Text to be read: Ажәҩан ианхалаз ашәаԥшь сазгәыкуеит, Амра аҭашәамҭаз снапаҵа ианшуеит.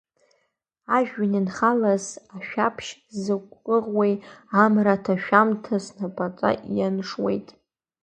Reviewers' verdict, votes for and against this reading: rejected, 1, 2